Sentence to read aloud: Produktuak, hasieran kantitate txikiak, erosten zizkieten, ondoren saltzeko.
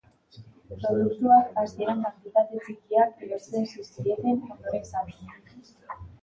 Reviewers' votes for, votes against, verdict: 2, 1, accepted